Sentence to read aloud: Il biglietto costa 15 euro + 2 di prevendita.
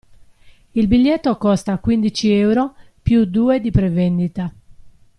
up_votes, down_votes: 0, 2